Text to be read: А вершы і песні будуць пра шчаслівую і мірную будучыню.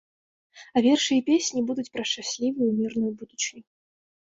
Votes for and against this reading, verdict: 2, 1, accepted